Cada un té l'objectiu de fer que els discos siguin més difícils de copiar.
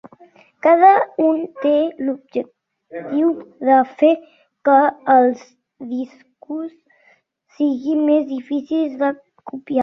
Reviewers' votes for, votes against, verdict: 1, 3, rejected